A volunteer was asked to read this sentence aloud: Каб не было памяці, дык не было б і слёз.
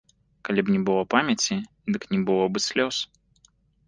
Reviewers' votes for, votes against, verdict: 1, 2, rejected